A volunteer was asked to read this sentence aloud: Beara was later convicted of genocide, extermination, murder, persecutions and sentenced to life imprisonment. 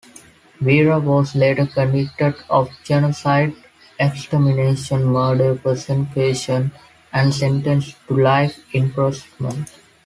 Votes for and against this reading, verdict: 0, 2, rejected